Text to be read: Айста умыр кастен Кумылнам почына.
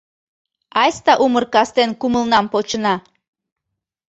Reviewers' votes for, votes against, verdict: 2, 0, accepted